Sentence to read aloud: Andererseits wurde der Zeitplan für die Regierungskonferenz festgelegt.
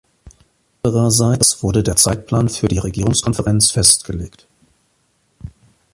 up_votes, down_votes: 3, 2